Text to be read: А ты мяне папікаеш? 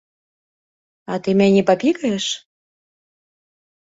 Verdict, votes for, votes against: rejected, 1, 2